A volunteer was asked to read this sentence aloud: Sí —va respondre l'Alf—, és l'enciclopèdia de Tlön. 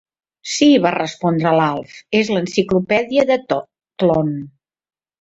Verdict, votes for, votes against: rejected, 1, 2